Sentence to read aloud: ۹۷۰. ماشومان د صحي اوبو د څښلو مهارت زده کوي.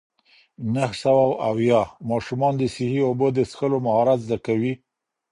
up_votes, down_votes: 0, 2